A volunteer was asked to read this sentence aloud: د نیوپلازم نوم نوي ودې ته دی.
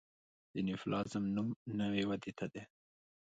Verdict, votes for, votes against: accepted, 2, 0